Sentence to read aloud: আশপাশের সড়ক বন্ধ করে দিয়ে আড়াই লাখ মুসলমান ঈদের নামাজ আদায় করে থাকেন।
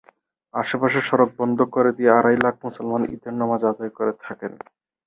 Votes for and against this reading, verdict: 10, 2, accepted